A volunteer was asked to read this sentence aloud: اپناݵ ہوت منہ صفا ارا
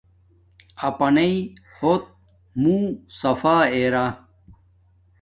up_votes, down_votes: 2, 0